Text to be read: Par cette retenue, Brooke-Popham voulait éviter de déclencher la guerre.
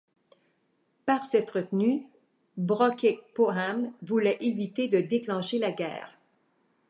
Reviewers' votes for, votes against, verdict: 2, 1, accepted